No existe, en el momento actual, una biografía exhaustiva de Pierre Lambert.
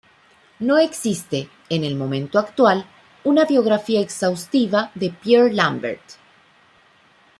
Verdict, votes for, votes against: accepted, 2, 0